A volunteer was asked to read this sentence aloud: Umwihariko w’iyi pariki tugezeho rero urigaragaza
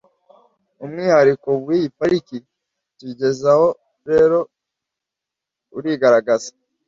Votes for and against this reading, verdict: 1, 2, rejected